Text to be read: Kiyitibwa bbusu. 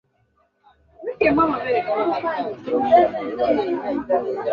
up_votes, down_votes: 0, 2